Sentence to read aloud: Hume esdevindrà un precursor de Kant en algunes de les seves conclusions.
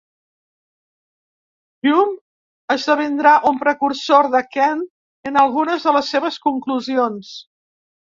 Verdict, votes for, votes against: accepted, 2, 0